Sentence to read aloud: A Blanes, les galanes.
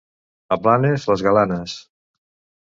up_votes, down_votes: 1, 2